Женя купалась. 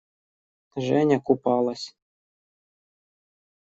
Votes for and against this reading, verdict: 2, 1, accepted